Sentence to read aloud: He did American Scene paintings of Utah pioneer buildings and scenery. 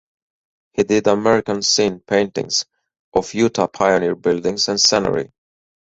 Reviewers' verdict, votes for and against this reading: accepted, 4, 2